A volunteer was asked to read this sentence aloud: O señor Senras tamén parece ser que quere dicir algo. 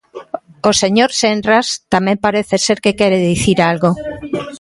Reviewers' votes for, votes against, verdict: 1, 2, rejected